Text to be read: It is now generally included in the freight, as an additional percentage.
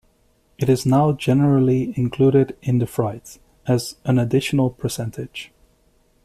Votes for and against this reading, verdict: 1, 2, rejected